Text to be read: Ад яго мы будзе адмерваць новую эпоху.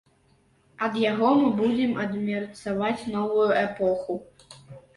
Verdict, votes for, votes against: rejected, 1, 2